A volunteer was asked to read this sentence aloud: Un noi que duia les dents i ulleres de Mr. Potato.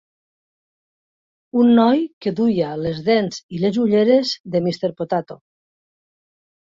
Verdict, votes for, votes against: rejected, 0, 2